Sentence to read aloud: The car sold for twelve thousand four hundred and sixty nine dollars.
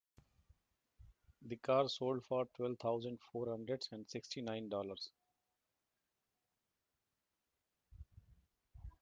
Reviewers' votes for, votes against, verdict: 2, 0, accepted